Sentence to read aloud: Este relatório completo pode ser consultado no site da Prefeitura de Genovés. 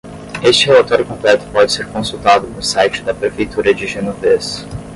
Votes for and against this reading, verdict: 5, 5, rejected